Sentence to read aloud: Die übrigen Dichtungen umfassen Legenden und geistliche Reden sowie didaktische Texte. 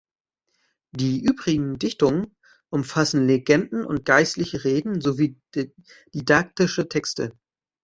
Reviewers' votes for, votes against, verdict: 0, 2, rejected